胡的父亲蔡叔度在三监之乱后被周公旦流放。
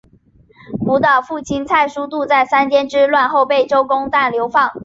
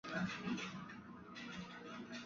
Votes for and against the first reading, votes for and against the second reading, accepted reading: 4, 1, 0, 2, first